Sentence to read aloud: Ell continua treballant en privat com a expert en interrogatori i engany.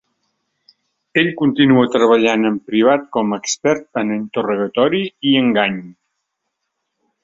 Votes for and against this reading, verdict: 2, 0, accepted